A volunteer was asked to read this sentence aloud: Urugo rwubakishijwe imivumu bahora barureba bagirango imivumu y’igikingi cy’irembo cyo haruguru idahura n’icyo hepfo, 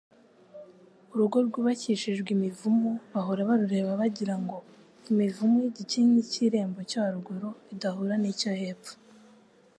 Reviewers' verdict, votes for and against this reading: accepted, 2, 0